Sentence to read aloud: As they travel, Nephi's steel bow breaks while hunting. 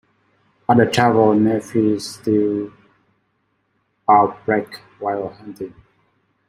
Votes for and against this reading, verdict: 0, 2, rejected